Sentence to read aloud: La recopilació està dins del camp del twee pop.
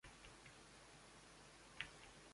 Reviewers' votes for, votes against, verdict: 0, 2, rejected